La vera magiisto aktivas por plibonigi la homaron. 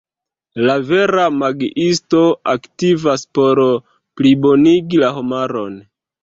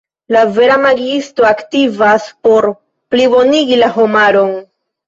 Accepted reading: second